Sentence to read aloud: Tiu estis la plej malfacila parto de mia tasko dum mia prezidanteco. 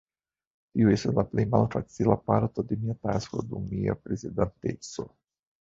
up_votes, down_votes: 1, 2